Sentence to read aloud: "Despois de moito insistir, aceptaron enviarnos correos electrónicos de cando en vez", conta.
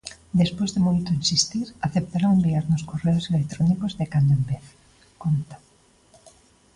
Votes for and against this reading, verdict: 2, 0, accepted